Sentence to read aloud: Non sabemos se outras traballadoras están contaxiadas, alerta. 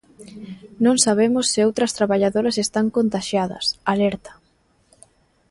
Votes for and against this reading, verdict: 2, 0, accepted